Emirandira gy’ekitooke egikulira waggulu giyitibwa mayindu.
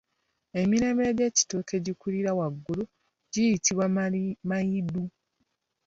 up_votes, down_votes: 0, 2